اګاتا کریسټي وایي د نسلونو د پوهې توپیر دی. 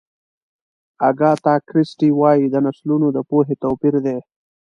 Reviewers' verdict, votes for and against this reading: accepted, 2, 0